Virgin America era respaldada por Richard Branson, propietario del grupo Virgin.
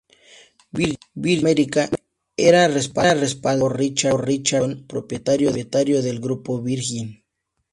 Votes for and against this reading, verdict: 0, 2, rejected